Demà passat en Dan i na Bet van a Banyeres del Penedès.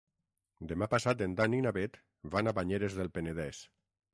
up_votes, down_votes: 6, 0